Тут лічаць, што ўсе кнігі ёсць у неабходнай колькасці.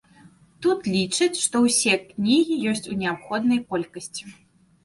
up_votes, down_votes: 2, 0